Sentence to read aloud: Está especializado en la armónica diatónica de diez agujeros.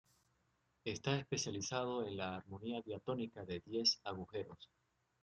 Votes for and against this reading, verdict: 1, 2, rejected